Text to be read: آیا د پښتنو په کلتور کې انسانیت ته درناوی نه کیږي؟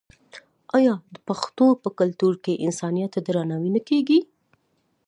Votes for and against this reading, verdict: 1, 2, rejected